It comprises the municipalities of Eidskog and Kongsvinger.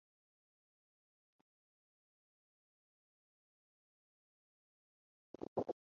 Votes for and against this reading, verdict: 0, 6, rejected